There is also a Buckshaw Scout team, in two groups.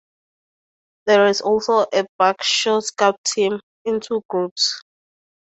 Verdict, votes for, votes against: accepted, 4, 0